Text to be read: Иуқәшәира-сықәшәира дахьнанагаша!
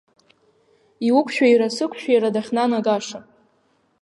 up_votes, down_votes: 2, 0